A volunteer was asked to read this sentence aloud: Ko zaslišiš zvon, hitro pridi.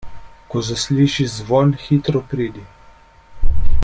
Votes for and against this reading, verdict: 2, 0, accepted